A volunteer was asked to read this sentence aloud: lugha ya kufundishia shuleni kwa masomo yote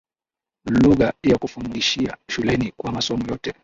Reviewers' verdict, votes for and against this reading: rejected, 1, 2